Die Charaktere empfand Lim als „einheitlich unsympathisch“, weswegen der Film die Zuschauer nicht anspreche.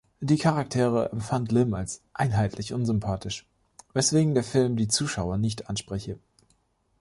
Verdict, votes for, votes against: accepted, 2, 0